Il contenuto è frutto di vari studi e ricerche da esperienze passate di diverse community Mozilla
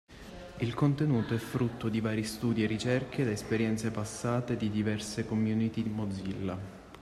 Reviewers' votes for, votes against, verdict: 2, 1, accepted